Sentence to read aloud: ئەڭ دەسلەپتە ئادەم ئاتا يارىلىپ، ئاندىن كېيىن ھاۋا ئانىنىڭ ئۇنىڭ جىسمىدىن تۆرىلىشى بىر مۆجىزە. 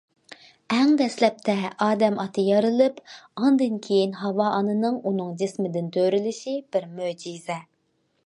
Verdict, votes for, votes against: accepted, 2, 0